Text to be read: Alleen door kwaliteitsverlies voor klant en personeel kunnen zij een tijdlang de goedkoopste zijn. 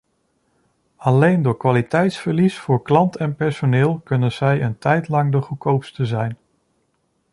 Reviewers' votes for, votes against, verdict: 2, 0, accepted